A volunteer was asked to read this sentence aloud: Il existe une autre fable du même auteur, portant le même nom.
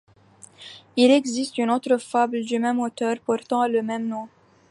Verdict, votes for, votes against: accepted, 2, 1